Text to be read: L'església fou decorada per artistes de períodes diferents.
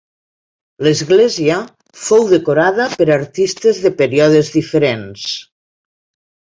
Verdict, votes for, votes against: accepted, 2, 0